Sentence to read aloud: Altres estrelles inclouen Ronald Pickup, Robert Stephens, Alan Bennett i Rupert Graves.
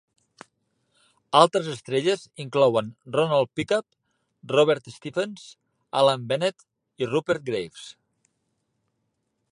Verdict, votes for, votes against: accepted, 3, 0